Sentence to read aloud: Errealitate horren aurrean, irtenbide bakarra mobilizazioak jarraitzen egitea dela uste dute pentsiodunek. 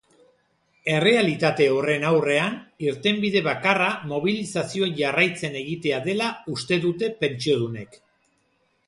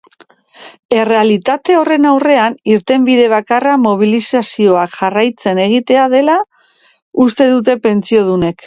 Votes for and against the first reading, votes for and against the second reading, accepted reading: 0, 2, 2, 1, second